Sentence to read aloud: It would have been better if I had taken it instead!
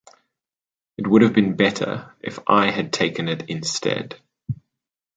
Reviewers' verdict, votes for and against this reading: accepted, 2, 0